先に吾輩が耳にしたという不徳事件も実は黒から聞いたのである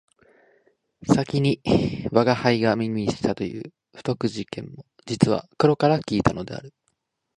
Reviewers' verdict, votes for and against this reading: rejected, 1, 2